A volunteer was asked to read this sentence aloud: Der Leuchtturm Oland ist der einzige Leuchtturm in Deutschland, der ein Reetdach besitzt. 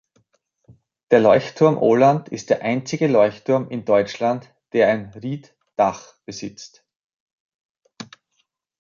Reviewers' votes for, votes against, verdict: 2, 4, rejected